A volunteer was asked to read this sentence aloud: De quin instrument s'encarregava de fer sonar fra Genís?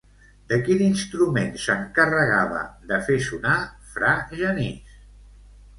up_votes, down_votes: 1, 2